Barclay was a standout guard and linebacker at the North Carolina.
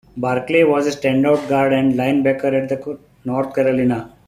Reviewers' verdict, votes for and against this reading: rejected, 0, 2